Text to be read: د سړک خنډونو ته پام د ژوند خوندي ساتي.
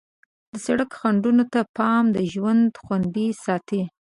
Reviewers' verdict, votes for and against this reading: accepted, 2, 0